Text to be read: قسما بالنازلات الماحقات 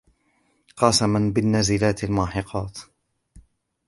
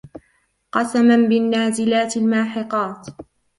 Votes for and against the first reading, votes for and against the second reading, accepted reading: 2, 0, 0, 2, first